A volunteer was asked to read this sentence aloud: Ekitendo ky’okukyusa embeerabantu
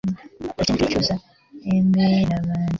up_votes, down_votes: 0, 2